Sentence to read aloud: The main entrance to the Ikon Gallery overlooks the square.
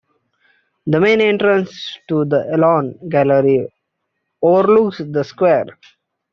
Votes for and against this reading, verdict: 1, 2, rejected